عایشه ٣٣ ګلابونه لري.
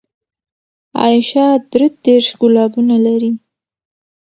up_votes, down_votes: 0, 2